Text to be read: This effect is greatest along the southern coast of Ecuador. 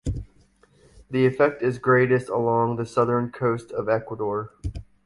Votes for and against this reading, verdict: 1, 2, rejected